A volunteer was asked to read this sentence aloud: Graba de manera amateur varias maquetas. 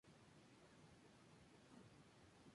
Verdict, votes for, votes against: accepted, 2, 0